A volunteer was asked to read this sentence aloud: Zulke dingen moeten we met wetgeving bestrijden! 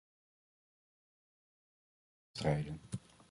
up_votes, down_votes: 0, 2